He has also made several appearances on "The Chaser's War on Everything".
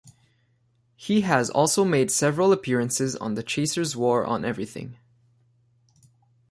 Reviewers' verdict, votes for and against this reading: accepted, 2, 0